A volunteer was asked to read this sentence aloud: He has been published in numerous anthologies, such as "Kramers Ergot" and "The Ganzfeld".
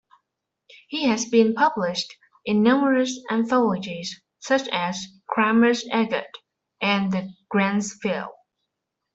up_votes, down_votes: 1, 2